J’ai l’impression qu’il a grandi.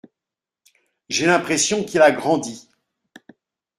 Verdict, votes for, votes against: accepted, 2, 0